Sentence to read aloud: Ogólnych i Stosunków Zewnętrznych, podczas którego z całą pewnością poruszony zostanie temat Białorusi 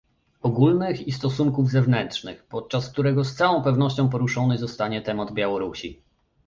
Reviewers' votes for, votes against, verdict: 1, 2, rejected